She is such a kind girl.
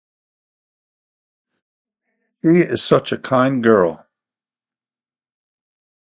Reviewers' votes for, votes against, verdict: 4, 2, accepted